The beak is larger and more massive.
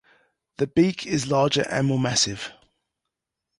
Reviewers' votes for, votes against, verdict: 2, 0, accepted